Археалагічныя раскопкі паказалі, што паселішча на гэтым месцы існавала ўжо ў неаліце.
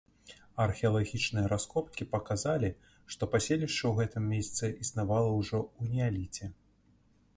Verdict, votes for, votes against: rejected, 1, 2